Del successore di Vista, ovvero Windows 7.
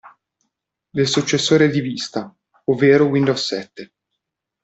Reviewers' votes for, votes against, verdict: 0, 2, rejected